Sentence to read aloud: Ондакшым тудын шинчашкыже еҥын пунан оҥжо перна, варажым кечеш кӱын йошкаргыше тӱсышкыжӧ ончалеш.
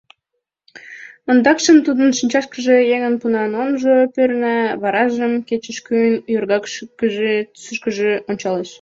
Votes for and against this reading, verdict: 0, 2, rejected